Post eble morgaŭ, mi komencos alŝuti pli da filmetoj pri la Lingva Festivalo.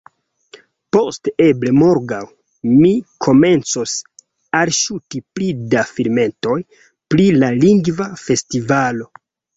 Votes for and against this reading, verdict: 0, 2, rejected